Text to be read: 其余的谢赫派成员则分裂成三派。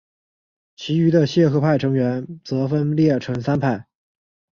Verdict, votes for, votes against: accepted, 2, 0